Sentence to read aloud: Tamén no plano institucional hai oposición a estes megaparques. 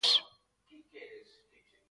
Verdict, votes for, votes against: rejected, 0, 4